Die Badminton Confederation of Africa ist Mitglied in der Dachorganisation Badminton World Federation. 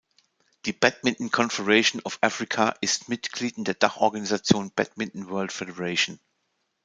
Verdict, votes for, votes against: accepted, 2, 0